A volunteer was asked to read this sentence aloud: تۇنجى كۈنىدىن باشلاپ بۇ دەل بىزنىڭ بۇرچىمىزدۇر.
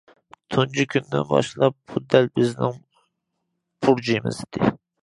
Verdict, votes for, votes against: rejected, 0, 2